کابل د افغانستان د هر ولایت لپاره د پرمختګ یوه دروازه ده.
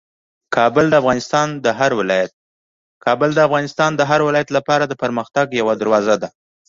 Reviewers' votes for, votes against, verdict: 2, 1, accepted